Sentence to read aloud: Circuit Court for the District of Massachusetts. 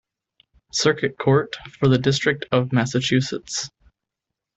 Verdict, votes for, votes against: accepted, 2, 0